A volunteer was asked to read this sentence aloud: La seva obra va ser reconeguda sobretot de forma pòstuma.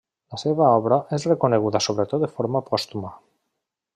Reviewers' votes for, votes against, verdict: 2, 0, accepted